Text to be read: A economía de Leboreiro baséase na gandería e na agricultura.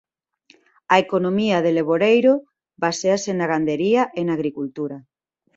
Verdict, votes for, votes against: accepted, 2, 0